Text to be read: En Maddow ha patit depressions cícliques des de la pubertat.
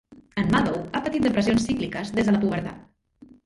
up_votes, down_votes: 0, 2